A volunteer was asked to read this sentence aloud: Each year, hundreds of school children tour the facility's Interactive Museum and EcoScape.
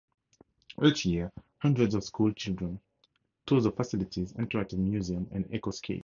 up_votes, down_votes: 2, 0